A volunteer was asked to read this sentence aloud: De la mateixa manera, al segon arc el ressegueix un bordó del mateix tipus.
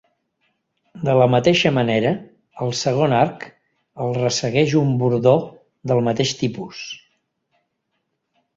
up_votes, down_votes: 3, 0